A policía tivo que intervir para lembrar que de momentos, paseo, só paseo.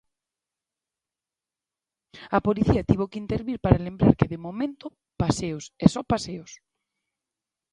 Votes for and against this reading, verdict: 0, 2, rejected